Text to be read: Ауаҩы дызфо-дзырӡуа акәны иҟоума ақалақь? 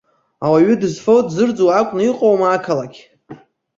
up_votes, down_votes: 2, 0